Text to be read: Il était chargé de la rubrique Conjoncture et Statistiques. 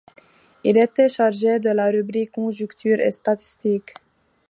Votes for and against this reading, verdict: 0, 2, rejected